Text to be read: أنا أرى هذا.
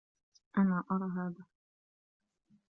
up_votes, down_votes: 0, 2